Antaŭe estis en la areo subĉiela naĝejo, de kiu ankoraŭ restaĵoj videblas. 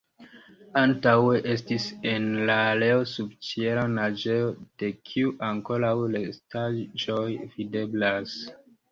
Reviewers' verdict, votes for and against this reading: accepted, 2, 0